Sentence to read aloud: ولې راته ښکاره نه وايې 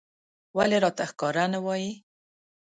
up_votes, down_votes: 2, 0